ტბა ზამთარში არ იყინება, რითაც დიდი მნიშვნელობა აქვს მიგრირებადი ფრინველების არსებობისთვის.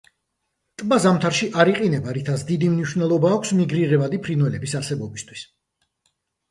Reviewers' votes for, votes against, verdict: 2, 0, accepted